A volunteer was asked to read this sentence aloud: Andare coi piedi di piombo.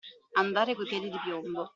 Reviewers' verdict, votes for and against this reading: accepted, 2, 0